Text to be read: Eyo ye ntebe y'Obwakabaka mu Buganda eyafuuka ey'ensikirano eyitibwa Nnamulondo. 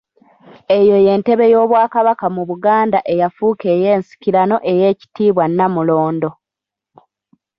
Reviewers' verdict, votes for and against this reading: accepted, 2, 0